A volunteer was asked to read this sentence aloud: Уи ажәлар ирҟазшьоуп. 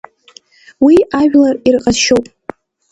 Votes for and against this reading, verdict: 2, 0, accepted